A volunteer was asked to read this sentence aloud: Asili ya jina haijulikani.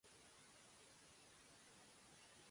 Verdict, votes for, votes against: rejected, 0, 2